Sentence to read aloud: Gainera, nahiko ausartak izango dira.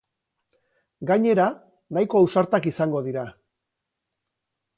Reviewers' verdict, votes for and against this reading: accepted, 6, 0